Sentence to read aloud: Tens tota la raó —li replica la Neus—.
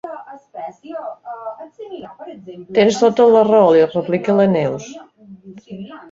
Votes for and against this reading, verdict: 0, 3, rejected